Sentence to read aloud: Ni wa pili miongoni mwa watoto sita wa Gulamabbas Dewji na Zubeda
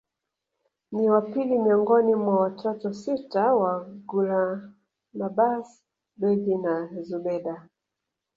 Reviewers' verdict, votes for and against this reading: rejected, 0, 2